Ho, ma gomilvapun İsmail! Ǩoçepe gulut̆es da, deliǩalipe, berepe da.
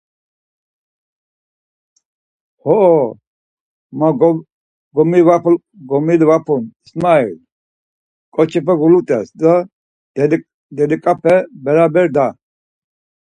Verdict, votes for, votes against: rejected, 0, 4